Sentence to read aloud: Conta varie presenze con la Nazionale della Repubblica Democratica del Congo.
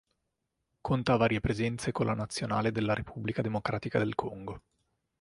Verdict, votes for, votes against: accepted, 2, 0